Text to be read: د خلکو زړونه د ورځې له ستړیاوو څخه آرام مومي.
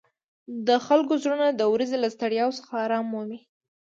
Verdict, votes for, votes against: accepted, 2, 0